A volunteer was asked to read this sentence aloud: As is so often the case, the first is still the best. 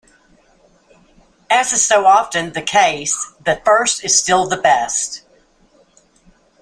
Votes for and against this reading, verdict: 2, 0, accepted